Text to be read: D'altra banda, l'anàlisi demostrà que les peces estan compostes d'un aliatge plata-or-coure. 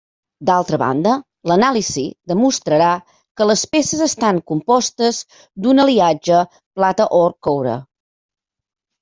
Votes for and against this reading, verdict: 0, 2, rejected